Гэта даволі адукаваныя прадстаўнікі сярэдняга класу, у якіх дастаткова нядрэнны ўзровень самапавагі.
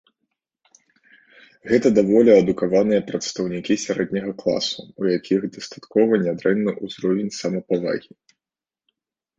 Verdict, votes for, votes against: accepted, 2, 0